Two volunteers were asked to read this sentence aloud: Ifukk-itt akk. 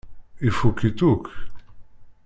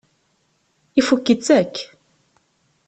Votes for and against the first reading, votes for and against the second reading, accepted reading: 0, 2, 2, 0, second